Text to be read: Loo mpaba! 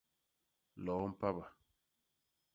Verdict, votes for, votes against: rejected, 0, 2